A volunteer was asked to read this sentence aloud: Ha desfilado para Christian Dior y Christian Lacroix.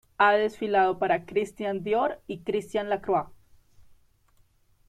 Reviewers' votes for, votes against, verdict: 1, 2, rejected